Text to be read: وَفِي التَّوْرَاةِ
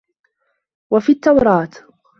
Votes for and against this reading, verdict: 2, 0, accepted